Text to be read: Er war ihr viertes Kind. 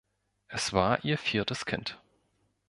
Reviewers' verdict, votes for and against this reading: rejected, 1, 2